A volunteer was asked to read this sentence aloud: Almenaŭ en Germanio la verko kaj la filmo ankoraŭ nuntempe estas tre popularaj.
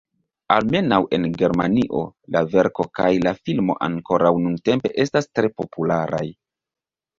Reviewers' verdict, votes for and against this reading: accepted, 2, 0